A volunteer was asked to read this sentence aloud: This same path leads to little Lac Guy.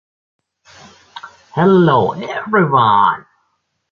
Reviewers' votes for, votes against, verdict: 0, 2, rejected